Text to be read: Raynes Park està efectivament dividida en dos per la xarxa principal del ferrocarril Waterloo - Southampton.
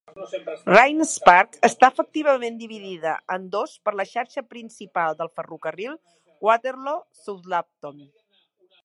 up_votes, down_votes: 1, 2